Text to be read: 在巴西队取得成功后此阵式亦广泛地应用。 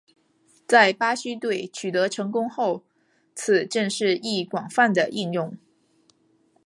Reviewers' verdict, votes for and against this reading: accepted, 2, 0